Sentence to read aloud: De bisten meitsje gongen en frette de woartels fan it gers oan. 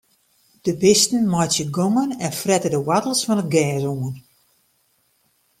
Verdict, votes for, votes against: accepted, 2, 0